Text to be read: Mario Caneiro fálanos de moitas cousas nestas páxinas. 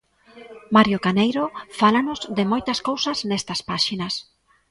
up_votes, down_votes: 2, 1